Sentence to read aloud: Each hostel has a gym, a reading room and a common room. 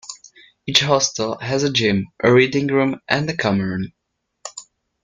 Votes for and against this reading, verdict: 2, 0, accepted